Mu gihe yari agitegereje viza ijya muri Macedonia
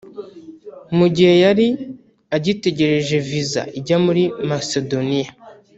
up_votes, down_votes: 0, 2